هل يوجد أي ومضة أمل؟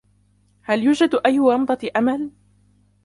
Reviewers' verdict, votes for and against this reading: accepted, 2, 1